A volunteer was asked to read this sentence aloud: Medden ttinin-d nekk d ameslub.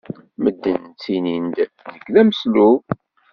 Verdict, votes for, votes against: rejected, 1, 2